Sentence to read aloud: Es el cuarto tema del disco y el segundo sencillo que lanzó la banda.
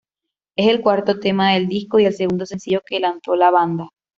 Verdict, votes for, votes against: accepted, 2, 1